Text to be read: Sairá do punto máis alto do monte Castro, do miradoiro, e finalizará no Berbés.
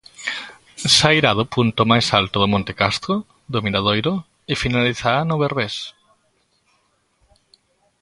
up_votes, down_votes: 2, 0